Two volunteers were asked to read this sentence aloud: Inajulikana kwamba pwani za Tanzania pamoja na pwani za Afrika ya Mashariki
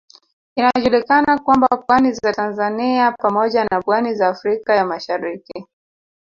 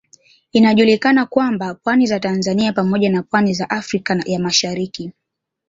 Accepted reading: second